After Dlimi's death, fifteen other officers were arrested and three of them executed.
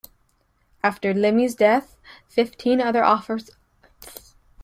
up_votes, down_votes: 0, 2